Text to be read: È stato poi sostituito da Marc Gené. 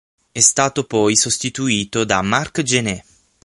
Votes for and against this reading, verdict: 6, 0, accepted